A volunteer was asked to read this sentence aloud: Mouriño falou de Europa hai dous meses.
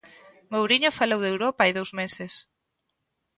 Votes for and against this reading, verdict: 2, 0, accepted